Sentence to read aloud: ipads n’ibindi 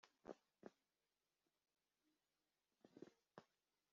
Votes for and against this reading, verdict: 0, 2, rejected